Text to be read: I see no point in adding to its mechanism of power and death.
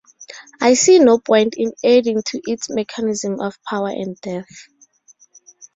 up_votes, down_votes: 2, 2